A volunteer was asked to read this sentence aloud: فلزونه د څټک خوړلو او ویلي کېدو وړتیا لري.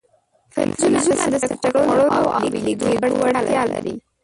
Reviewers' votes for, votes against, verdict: 0, 2, rejected